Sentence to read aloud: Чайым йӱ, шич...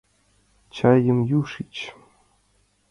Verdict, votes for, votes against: rejected, 0, 2